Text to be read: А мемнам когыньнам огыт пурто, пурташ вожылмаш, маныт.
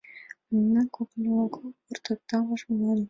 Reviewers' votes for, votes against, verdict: 2, 1, accepted